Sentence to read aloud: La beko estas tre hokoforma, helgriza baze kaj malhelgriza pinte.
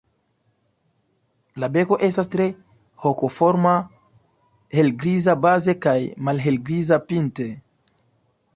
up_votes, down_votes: 2, 0